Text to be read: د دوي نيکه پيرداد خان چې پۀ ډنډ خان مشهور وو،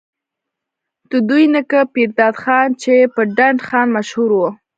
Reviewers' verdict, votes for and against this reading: rejected, 1, 2